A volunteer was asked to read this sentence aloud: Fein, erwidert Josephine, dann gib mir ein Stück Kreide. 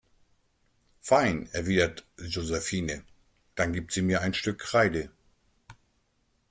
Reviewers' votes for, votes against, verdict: 1, 2, rejected